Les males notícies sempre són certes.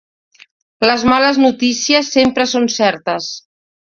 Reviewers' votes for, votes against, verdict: 2, 0, accepted